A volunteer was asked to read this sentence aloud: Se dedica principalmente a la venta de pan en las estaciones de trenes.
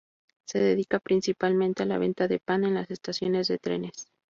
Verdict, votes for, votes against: rejected, 2, 2